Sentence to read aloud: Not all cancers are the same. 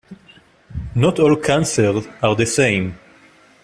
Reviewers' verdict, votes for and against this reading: rejected, 0, 2